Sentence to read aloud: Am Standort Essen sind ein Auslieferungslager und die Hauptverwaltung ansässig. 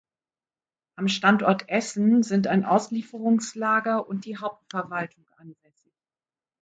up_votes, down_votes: 1, 2